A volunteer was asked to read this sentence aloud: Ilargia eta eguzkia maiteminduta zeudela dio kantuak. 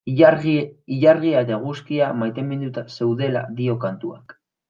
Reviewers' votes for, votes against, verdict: 0, 2, rejected